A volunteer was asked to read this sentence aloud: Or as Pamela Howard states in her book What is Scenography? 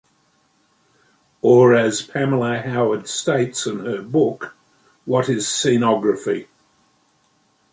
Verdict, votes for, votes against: accepted, 2, 1